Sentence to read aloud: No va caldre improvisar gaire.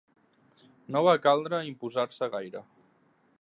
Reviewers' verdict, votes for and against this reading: rejected, 0, 2